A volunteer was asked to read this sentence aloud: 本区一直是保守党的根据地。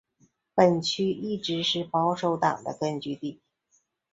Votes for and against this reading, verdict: 2, 0, accepted